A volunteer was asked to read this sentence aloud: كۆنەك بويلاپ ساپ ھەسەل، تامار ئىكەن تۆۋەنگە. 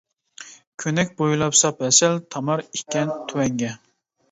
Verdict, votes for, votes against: accepted, 2, 0